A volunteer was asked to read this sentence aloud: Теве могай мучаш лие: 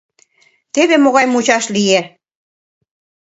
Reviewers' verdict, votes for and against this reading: accepted, 2, 0